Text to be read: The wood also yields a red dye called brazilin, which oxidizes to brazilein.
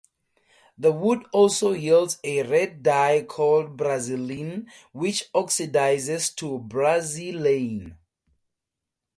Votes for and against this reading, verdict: 4, 0, accepted